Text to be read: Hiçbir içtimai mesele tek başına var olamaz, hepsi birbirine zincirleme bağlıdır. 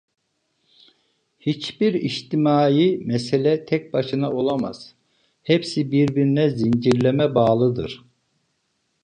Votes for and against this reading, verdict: 0, 2, rejected